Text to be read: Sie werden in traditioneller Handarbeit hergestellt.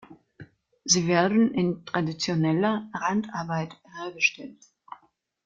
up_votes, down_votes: 2, 0